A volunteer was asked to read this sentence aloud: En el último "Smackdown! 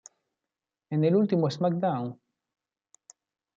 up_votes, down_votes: 1, 2